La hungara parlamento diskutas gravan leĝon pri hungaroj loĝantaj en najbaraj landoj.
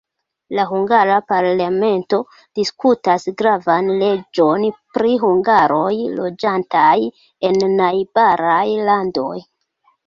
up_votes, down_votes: 0, 2